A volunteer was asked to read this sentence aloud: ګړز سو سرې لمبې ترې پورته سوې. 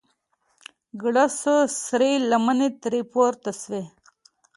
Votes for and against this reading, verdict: 2, 0, accepted